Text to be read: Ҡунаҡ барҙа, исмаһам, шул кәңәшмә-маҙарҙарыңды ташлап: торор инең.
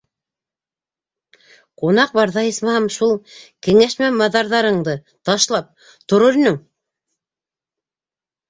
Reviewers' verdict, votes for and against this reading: rejected, 1, 2